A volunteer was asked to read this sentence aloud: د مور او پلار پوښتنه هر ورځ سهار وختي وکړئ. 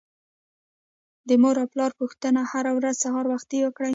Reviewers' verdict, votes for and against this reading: rejected, 1, 2